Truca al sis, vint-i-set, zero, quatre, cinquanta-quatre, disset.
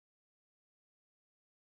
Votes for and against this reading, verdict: 0, 2, rejected